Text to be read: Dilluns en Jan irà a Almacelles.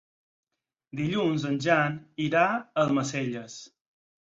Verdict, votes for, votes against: accepted, 6, 0